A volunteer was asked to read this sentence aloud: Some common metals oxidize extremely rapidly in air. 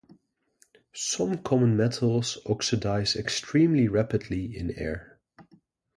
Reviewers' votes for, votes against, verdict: 2, 0, accepted